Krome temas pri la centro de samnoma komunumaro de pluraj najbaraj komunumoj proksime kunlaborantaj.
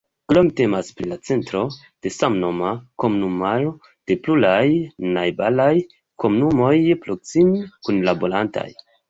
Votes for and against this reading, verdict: 0, 2, rejected